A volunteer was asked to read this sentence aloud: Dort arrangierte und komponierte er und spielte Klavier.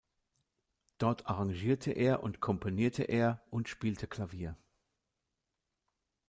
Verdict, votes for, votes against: rejected, 1, 2